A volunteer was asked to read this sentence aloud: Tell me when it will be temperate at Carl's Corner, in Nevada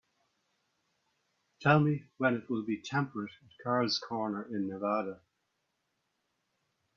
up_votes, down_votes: 3, 1